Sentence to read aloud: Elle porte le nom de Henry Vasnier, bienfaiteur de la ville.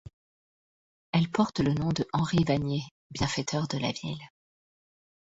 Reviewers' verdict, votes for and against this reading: accepted, 2, 0